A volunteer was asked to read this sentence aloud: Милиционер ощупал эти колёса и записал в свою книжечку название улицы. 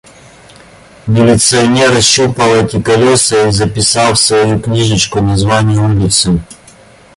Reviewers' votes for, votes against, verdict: 2, 0, accepted